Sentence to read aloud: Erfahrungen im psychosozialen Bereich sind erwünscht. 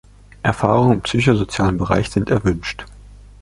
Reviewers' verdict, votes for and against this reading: accepted, 2, 0